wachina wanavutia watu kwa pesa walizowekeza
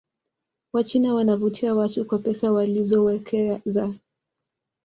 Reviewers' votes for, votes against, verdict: 2, 0, accepted